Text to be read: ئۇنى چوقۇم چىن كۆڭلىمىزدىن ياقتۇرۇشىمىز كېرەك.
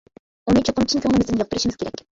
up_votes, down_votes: 0, 2